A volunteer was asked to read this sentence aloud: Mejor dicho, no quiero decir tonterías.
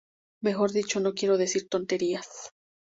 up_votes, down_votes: 2, 0